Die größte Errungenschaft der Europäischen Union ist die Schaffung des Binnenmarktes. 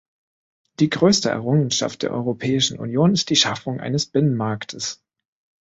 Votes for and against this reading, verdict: 0, 4, rejected